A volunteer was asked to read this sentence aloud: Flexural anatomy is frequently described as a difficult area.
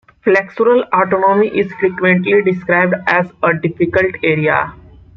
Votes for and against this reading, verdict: 2, 1, accepted